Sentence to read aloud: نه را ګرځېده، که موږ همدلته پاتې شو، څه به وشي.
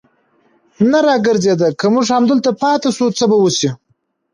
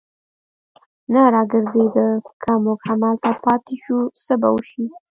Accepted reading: first